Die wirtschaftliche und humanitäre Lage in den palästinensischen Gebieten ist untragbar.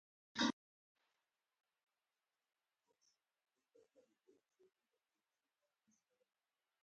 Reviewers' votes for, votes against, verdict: 0, 4, rejected